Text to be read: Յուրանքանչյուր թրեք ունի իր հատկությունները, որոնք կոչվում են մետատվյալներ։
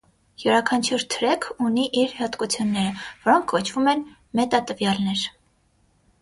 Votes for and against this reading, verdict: 6, 0, accepted